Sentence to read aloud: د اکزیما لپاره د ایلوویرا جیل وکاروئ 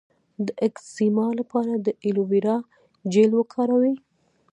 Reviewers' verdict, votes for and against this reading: rejected, 0, 2